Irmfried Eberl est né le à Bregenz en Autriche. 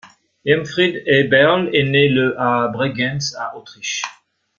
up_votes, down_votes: 1, 2